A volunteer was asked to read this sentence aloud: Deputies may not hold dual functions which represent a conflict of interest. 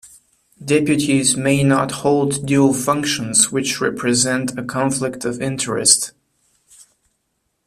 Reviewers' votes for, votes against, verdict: 2, 1, accepted